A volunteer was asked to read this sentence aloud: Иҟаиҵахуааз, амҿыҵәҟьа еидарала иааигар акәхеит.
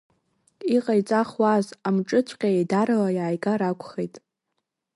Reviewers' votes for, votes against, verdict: 1, 2, rejected